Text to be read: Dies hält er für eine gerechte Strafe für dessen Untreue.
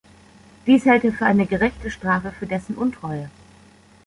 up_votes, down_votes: 2, 0